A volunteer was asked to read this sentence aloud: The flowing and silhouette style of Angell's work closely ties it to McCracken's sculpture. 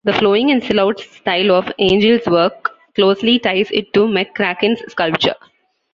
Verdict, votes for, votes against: rejected, 1, 2